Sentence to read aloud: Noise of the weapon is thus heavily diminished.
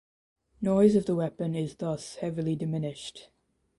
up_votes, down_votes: 2, 0